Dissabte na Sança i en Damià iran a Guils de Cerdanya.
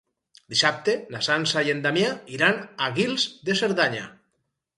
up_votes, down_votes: 2, 2